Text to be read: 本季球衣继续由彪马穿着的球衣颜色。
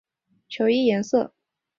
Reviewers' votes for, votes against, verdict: 1, 3, rejected